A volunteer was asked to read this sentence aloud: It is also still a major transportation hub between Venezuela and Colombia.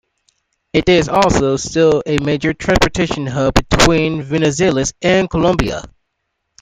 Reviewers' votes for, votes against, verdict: 1, 2, rejected